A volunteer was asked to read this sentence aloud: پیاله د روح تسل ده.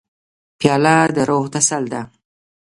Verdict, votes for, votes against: rejected, 1, 2